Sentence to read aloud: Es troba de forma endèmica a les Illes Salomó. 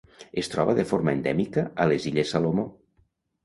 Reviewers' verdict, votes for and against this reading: accepted, 2, 0